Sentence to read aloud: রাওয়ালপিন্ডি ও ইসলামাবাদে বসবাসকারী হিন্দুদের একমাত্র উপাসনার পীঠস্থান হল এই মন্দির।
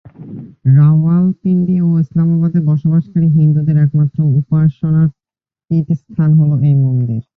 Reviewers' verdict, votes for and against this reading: rejected, 0, 2